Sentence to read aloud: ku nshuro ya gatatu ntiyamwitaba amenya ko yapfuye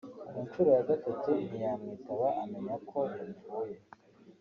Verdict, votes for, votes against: rejected, 0, 2